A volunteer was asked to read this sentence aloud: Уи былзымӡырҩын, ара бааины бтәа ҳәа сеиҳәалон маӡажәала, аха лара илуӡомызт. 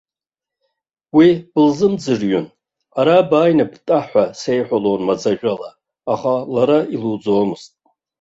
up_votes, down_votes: 2, 1